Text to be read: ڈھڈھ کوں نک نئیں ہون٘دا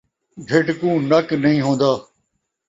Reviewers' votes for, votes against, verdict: 2, 0, accepted